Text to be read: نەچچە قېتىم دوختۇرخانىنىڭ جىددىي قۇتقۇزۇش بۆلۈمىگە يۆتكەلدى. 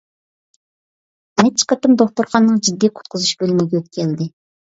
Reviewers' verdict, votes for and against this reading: accepted, 2, 0